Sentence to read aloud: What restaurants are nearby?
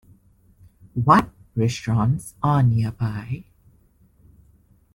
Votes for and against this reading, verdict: 2, 0, accepted